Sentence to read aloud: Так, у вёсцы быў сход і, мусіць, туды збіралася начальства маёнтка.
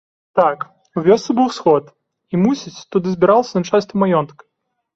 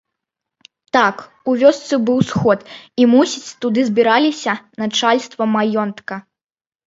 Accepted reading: first